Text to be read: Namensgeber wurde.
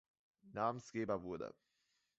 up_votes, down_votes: 2, 0